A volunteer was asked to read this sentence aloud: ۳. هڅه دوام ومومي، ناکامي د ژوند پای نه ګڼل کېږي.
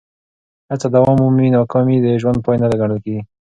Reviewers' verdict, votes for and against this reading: rejected, 0, 2